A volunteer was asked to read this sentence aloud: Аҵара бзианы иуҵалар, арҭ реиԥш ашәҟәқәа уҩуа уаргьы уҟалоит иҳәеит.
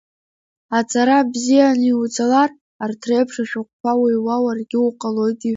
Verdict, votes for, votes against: rejected, 0, 2